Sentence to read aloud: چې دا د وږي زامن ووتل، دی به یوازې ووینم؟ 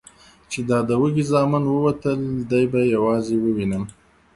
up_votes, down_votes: 2, 0